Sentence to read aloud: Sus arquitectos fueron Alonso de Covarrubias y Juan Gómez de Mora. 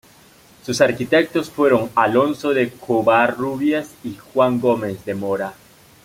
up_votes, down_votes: 2, 0